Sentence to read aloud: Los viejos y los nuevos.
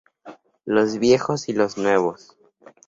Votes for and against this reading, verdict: 2, 0, accepted